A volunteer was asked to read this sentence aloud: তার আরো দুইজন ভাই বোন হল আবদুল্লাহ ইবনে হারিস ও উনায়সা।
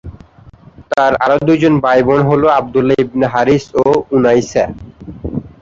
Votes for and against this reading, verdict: 2, 1, accepted